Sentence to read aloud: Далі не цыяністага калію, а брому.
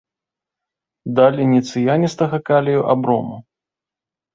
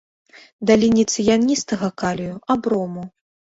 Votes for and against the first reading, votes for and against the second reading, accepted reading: 2, 0, 1, 2, first